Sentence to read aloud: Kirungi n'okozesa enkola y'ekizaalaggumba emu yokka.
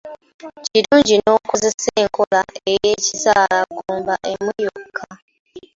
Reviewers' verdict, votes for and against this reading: rejected, 1, 2